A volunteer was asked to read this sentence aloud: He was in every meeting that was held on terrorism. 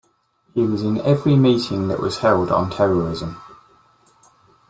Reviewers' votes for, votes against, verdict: 2, 0, accepted